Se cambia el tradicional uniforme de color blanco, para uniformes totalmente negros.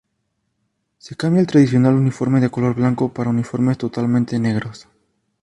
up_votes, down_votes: 2, 0